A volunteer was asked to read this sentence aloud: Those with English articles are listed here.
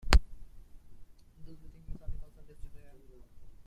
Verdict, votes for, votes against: rejected, 0, 2